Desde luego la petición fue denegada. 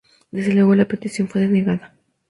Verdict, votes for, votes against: accepted, 2, 0